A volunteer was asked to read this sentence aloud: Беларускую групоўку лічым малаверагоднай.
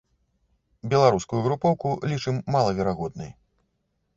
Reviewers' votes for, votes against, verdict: 2, 0, accepted